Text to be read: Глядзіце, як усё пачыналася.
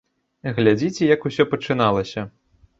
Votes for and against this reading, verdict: 2, 0, accepted